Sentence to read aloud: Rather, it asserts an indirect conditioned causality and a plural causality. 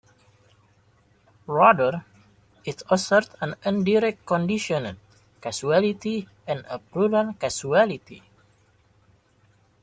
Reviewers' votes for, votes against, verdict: 0, 2, rejected